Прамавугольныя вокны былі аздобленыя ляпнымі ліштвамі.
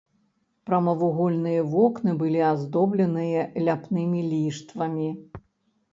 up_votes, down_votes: 3, 0